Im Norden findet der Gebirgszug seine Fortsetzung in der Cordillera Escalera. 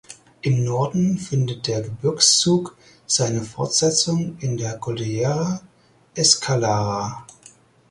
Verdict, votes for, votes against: rejected, 0, 4